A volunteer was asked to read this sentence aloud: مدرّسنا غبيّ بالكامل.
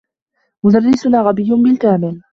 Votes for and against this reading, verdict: 1, 2, rejected